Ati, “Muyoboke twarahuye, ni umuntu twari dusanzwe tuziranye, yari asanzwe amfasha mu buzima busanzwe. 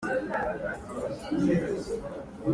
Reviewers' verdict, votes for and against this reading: rejected, 0, 4